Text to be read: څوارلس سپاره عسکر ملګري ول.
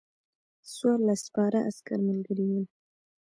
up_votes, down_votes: 0, 2